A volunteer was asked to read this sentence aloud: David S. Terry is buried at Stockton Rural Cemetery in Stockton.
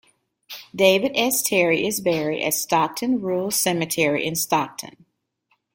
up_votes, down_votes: 2, 0